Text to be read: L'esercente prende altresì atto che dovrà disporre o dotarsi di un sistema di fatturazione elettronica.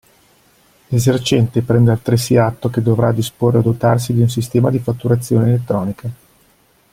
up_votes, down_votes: 1, 2